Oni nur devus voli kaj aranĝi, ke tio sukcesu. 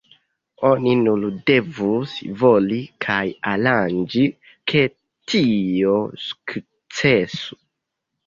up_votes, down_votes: 2, 1